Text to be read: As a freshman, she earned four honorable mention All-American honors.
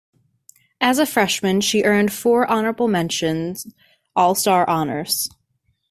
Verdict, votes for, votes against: rejected, 0, 2